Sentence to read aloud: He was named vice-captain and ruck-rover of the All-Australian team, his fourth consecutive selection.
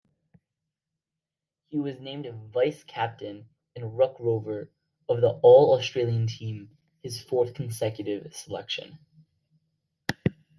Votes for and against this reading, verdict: 2, 0, accepted